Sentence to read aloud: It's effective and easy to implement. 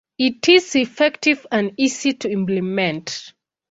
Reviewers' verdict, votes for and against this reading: rejected, 1, 2